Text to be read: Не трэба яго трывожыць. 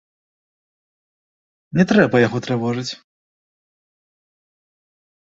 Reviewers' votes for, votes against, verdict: 2, 0, accepted